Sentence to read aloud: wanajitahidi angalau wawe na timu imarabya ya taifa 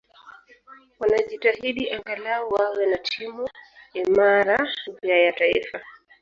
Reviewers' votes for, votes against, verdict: 1, 2, rejected